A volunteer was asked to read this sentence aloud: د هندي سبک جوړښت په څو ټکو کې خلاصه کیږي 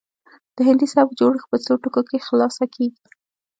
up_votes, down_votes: 1, 2